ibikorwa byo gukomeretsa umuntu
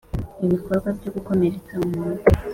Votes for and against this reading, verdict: 2, 0, accepted